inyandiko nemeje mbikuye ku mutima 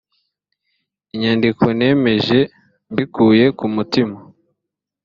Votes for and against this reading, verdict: 2, 0, accepted